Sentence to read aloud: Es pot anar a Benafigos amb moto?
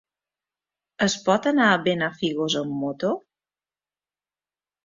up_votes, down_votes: 2, 0